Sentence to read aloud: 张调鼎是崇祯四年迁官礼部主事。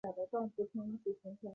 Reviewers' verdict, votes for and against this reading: rejected, 0, 2